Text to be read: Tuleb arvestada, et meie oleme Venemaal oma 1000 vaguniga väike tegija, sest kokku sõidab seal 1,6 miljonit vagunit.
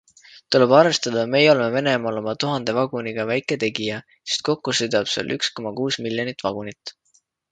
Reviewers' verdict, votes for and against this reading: rejected, 0, 2